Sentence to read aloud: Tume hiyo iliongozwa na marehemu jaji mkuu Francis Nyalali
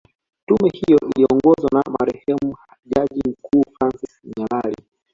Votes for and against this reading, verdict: 2, 1, accepted